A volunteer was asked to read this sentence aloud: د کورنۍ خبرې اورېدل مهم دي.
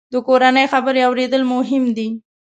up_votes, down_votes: 2, 0